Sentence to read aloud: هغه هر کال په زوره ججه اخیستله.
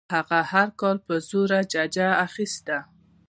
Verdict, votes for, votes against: rejected, 1, 2